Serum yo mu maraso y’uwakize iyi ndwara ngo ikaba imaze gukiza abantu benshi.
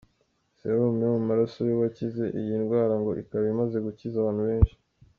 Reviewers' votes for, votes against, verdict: 1, 2, rejected